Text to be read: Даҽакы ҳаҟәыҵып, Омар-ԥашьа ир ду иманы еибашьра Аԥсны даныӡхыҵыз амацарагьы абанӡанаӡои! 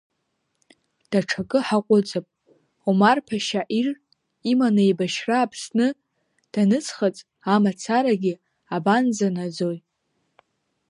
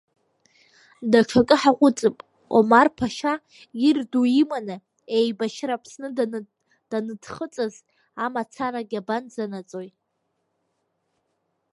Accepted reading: second